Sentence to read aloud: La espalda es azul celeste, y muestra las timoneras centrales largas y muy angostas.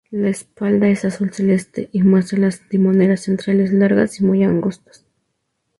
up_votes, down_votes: 2, 0